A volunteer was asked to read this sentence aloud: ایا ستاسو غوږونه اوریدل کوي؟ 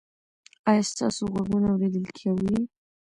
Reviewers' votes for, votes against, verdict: 2, 0, accepted